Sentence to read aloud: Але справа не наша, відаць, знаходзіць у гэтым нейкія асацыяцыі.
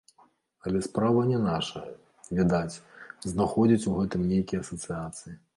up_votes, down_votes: 0, 2